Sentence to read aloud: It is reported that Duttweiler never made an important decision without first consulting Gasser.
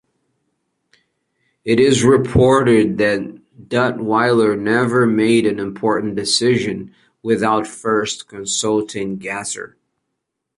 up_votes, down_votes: 4, 0